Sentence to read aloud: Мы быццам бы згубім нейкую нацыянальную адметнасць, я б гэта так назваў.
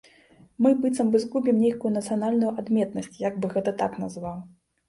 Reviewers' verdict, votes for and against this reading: accepted, 3, 0